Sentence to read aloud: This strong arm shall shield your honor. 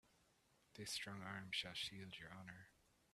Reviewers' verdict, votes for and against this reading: rejected, 1, 2